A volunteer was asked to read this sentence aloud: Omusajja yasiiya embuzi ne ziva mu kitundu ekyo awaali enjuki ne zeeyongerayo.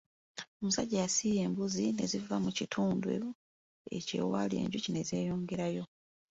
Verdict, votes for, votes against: rejected, 1, 2